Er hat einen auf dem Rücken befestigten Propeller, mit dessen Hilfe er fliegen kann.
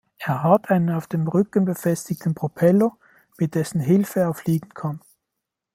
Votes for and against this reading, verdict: 2, 0, accepted